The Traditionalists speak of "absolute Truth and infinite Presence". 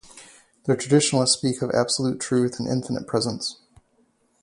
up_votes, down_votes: 4, 0